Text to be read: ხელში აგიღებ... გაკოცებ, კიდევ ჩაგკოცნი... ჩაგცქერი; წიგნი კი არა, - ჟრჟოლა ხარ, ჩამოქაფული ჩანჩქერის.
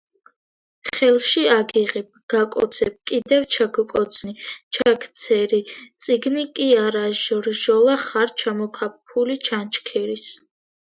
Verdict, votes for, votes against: rejected, 1, 2